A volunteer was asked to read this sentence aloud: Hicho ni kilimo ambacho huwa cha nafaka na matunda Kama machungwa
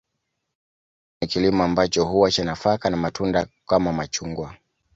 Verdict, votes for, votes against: accepted, 2, 0